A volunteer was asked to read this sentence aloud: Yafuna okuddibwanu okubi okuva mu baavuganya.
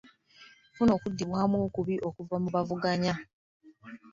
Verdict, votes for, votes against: accepted, 2, 0